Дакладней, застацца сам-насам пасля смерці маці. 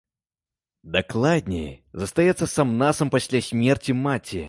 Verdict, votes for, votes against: rejected, 0, 2